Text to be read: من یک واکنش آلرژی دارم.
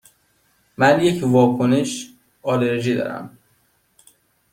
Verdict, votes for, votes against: rejected, 1, 2